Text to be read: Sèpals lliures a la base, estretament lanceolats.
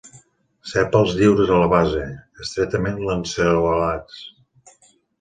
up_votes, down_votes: 1, 2